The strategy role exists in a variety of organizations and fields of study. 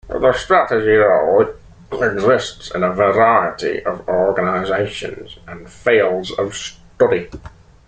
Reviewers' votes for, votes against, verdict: 1, 2, rejected